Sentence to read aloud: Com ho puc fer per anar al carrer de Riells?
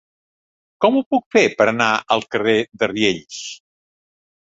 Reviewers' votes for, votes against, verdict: 3, 0, accepted